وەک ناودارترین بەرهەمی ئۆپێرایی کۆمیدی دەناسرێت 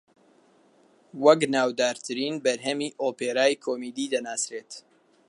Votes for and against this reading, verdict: 2, 0, accepted